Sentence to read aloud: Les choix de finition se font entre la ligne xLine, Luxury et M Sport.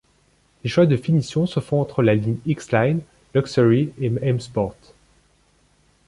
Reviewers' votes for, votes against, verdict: 2, 0, accepted